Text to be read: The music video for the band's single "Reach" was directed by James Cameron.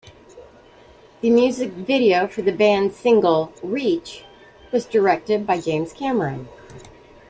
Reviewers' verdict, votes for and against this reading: rejected, 1, 2